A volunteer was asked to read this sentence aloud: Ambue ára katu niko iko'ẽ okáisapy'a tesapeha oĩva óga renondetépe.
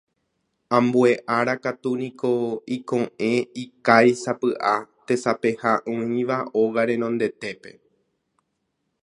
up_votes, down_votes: 0, 2